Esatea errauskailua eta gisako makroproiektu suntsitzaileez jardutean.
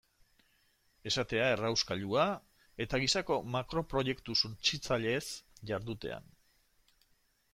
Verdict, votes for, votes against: accepted, 2, 0